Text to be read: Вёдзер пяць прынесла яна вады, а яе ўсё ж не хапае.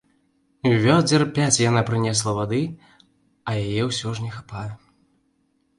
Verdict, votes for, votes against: rejected, 0, 2